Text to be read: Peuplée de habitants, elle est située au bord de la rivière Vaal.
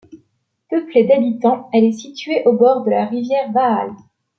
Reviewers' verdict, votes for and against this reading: rejected, 0, 2